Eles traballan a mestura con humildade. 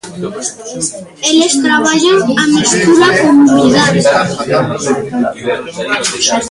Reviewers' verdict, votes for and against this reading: accepted, 2, 0